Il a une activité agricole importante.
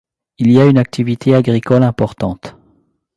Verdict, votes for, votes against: rejected, 0, 2